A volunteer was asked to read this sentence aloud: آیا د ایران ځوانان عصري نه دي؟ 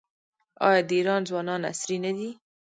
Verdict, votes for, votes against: rejected, 1, 2